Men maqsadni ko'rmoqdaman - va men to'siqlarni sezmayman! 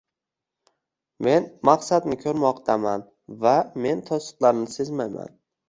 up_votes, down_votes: 2, 0